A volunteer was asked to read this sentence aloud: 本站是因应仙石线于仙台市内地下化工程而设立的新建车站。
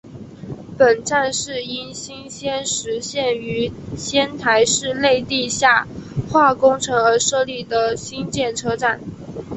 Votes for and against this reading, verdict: 2, 0, accepted